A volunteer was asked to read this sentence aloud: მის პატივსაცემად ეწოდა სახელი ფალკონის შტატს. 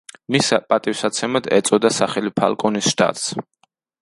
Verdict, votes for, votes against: rejected, 0, 2